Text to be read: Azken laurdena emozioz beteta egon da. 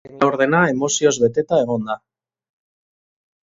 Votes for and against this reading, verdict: 0, 3, rejected